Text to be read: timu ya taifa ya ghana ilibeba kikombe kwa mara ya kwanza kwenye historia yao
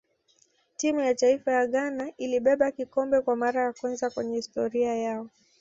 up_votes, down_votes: 2, 0